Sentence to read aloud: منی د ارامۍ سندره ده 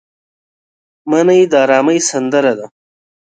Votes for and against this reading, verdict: 2, 0, accepted